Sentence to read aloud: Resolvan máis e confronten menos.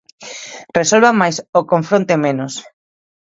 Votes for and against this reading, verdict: 0, 2, rejected